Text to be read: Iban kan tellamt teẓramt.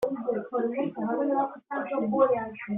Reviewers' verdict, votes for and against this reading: rejected, 0, 2